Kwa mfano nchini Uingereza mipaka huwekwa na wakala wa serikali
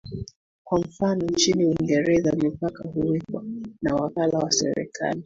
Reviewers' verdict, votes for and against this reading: accepted, 2, 0